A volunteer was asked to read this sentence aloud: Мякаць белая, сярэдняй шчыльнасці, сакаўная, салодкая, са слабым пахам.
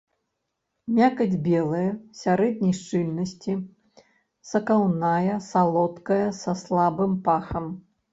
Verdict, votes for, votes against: accepted, 2, 0